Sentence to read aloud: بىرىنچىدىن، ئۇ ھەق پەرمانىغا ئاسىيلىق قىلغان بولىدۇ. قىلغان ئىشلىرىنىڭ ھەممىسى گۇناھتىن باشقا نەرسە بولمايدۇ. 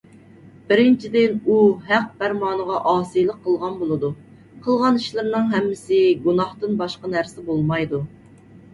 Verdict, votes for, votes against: accepted, 2, 0